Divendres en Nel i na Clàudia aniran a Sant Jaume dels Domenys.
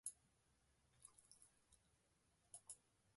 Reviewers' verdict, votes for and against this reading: rejected, 0, 2